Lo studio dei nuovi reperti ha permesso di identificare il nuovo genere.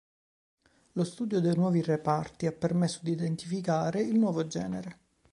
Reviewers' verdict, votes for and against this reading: rejected, 1, 3